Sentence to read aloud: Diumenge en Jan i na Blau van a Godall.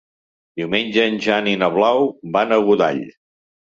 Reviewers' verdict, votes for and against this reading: accepted, 3, 0